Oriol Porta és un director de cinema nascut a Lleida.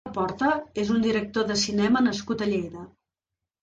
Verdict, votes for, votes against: rejected, 1, 3